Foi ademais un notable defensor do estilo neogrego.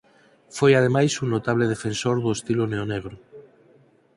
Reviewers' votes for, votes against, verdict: 2, 4, rejected